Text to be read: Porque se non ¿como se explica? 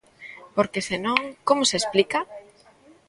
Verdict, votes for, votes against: rejected, 1, 2